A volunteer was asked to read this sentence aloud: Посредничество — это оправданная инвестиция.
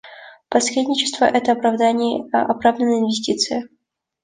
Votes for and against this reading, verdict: 0, 2, rejected